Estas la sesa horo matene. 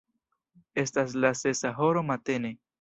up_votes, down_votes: 2, 0